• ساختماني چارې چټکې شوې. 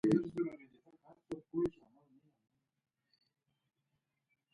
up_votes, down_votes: 0, 2